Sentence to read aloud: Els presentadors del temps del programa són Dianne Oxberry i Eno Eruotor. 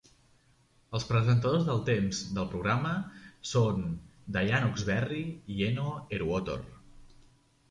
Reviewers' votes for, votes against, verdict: 2, 0, accepted